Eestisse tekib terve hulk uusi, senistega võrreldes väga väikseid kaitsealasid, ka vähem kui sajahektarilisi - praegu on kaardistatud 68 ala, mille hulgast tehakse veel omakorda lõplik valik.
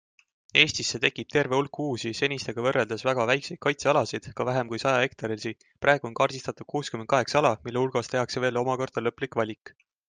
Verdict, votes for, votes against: rejected, 0, 2